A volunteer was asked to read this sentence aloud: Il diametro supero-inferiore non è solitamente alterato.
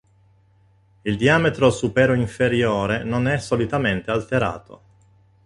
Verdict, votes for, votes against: accepted, 3, 0